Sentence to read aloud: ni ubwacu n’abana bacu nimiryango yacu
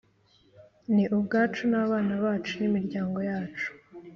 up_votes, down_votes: 2, 0